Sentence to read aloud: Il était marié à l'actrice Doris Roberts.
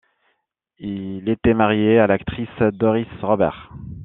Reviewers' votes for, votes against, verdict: 2, 1, accepted